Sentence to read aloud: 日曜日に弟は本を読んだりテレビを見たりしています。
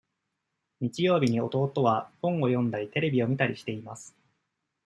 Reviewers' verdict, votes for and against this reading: accepted, 2, 0